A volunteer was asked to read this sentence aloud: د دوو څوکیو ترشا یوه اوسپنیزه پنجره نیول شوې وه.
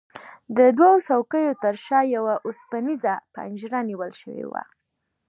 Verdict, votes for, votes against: accepted, 2, 0